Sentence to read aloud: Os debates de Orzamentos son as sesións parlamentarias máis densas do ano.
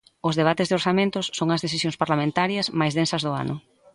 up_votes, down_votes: 0, 2